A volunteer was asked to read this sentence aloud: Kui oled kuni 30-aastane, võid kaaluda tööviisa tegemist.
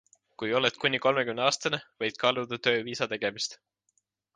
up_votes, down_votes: 0, 2